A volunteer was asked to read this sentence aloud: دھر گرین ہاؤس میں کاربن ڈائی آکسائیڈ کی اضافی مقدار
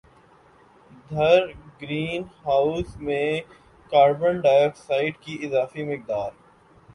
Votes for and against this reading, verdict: 2, 0, accepted